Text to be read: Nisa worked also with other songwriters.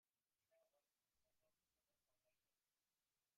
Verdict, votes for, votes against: rejected, 0, 2